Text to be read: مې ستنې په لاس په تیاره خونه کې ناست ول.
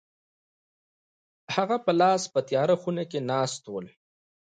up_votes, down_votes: 2, 1